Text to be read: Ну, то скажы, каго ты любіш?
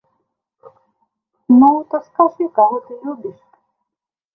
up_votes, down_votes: 0, 2